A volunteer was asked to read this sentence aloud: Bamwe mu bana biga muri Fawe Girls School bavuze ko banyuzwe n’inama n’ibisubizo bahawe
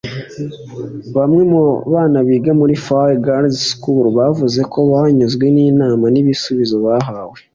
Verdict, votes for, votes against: accepted, 2, 0